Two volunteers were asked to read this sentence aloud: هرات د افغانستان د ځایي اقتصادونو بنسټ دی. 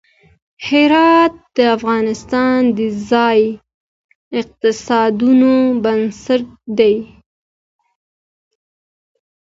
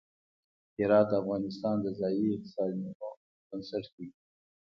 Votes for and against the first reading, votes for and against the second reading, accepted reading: 1, 2, 2, 0, second